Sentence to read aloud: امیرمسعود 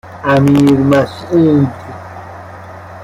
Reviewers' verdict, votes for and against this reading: accepted, 2, 0